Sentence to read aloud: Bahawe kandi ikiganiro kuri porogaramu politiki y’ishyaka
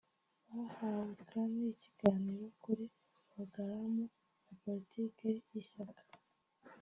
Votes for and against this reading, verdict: 1, 2, rejected